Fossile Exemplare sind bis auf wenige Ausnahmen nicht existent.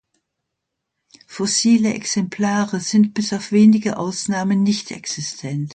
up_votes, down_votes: 2, 0